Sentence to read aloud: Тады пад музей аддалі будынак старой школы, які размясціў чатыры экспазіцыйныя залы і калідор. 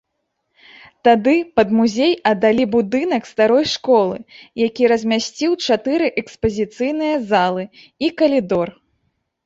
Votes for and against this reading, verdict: 2, 0, accepted